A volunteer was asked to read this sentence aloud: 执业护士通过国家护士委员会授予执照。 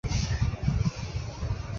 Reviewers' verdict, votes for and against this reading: rejected, 0, 2